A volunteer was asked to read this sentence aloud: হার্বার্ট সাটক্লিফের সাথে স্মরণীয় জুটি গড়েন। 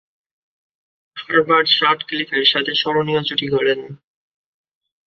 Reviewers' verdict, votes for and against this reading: accepted, 2, 0